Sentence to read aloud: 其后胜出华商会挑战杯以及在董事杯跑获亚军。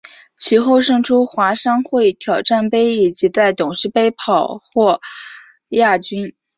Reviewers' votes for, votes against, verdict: 3, 0, accepted